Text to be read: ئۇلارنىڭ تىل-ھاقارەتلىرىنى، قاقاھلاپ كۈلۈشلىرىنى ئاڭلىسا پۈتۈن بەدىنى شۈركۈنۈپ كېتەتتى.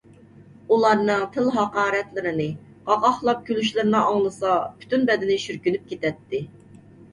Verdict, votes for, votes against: accepted, 2, 0